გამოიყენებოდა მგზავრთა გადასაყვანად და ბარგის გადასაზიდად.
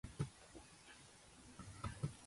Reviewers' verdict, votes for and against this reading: rejected, 0, 2